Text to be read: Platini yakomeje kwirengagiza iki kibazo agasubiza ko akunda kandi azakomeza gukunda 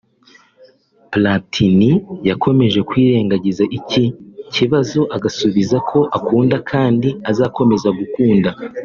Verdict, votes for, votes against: accepted, 3, 1